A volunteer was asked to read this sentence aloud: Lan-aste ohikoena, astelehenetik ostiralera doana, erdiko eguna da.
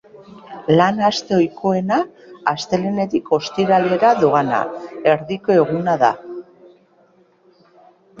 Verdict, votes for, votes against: accepted, 2, 0